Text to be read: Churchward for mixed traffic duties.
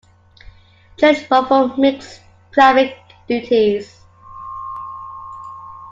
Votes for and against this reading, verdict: 0, 2, rejected